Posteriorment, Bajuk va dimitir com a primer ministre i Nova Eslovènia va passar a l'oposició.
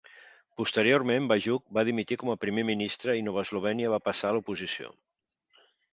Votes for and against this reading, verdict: 2, 0, accepted